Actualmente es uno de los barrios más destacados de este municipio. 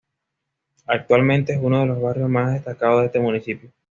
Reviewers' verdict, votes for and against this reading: accepted, 2, 0